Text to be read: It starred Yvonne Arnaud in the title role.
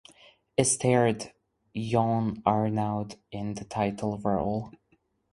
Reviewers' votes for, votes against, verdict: 0, 4, rejected